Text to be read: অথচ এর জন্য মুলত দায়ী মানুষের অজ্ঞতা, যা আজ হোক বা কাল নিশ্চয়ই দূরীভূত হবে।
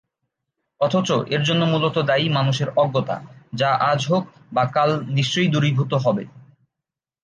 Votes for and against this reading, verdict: 3, 0, accepted